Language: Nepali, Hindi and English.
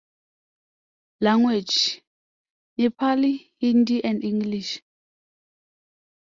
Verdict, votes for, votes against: accepted, 2, 0